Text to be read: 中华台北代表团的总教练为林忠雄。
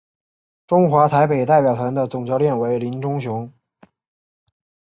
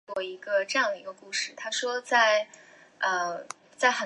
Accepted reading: first